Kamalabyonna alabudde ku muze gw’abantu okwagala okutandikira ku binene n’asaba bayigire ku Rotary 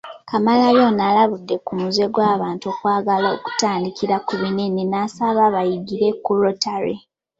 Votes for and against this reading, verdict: 2, 0, accepted